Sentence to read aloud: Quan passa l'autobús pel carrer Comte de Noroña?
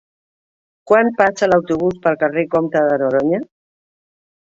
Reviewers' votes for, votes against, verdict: 1, 3, rejected